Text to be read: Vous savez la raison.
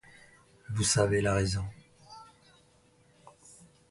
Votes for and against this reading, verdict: 1, 2, rejected